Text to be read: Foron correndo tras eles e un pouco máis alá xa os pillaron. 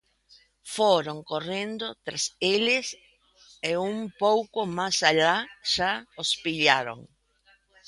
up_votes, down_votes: 1, 2